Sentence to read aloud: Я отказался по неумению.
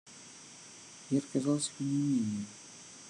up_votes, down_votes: 1, 2